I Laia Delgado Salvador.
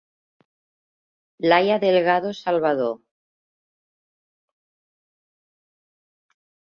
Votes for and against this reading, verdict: 1, 2, rejected